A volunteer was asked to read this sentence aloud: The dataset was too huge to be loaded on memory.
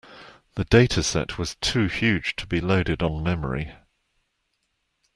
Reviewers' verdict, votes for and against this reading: accepted, 2, 0